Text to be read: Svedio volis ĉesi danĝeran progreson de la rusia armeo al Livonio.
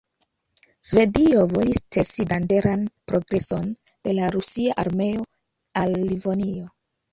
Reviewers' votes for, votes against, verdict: 1, 2, rejected